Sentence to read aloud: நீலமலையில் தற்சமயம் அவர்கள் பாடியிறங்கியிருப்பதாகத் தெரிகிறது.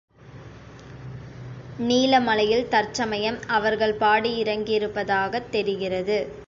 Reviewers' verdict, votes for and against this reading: accepted, 3, 0